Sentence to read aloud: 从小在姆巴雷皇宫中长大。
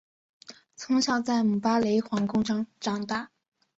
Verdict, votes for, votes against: accepted, 2, 0